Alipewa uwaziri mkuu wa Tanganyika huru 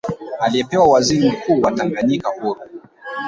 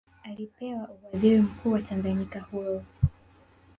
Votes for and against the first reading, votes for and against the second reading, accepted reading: 1, 2, 2, 0, second